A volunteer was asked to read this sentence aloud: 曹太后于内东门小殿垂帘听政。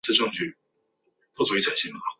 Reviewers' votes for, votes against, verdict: 0, 5, rejected